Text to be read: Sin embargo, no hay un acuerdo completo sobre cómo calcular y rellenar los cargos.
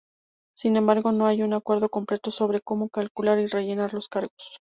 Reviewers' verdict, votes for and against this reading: rejected, 0, 2